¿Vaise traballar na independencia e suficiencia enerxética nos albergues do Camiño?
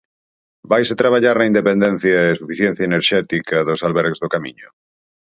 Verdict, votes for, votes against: rejected, 0, 4